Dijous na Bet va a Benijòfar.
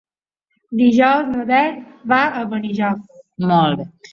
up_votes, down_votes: 1, 2